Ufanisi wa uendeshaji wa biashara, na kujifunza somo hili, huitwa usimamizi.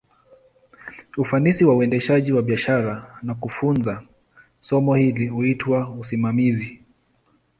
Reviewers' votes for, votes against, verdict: 1, 2, rejected